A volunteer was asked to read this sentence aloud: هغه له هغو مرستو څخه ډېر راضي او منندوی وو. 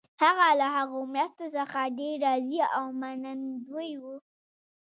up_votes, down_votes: 1, 2